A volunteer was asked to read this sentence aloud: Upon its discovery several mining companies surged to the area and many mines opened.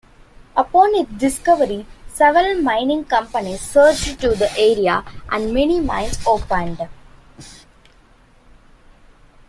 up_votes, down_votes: 0, 2